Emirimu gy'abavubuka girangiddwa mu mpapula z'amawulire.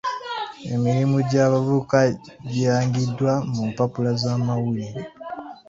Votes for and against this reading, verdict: 2, 1, accepted